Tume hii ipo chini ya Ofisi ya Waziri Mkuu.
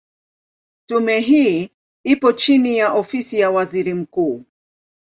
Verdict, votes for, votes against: accepted, 2, 0